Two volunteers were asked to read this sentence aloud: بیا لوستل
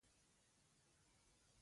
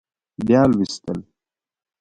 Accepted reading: second